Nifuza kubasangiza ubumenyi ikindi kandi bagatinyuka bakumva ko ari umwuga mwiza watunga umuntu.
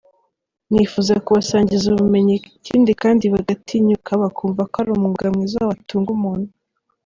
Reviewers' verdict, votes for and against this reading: accepted, 2, 0